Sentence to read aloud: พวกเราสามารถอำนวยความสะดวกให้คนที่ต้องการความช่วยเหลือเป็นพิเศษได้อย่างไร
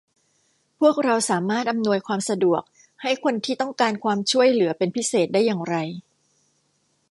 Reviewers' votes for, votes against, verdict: 2, 0, accepted